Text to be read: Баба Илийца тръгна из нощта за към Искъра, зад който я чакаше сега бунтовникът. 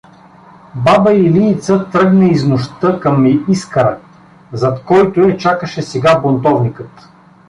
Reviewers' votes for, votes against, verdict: 1, 2, rejected